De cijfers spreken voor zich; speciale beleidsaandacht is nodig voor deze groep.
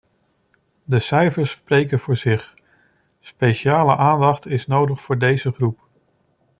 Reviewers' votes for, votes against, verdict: 1, 2, rejected